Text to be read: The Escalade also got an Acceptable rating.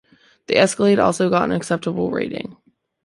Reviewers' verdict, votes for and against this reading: accepted, 2, 0